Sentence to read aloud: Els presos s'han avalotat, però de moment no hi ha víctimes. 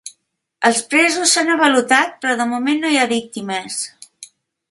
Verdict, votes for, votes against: accepted, 2, 0